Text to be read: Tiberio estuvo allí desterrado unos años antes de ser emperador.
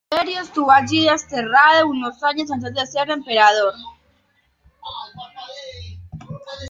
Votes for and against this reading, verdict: 1, 2, rejected